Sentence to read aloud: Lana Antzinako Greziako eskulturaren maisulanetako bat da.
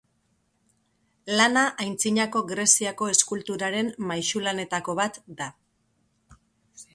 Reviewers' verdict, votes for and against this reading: accepted, 2, 0